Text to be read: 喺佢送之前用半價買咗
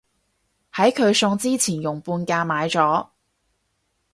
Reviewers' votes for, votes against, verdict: 4, 0, accepted